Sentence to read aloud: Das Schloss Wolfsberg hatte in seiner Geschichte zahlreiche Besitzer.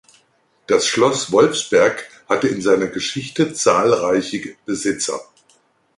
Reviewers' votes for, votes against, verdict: 1, 2, rejected